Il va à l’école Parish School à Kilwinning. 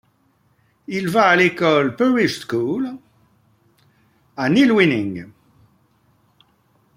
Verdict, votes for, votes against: rejected, 0, 2